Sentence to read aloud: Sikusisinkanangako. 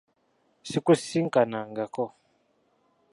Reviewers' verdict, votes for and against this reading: accepted, 2, 1